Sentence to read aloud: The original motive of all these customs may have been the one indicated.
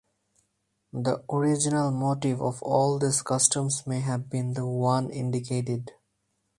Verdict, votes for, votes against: rejected, 2, 2